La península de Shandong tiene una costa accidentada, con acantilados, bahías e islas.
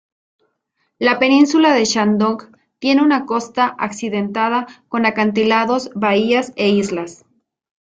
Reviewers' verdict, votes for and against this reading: accepted, 2, 1